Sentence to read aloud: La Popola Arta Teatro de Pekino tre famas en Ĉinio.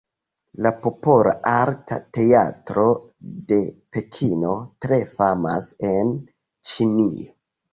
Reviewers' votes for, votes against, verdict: 2, 0, accepted